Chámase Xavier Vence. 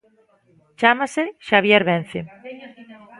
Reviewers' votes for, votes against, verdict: 0, 2, rejected